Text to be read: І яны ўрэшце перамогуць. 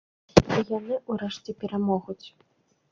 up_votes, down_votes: 0, 2